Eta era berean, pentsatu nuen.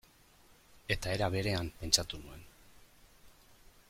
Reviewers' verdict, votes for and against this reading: accepted, 2, 0